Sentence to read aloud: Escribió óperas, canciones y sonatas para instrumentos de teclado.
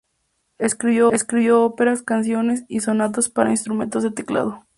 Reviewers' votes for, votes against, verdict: 0, 2, rejected